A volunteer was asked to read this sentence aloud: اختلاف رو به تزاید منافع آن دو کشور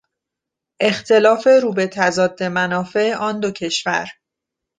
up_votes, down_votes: 1, 2